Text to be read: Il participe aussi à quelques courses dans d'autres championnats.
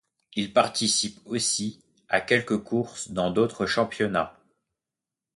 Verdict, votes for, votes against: accepted, 2, 0